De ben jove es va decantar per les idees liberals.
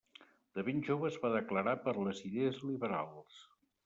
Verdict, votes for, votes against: rejected, 0, 2